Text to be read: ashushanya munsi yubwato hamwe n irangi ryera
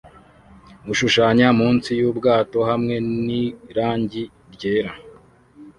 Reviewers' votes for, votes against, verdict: 2, 0, accepted